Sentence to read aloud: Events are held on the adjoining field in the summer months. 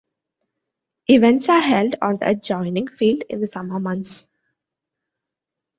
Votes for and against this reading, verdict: 1, 2, rejected